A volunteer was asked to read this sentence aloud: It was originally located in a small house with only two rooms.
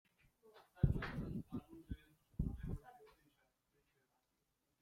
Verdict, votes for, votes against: rejected, 0, 2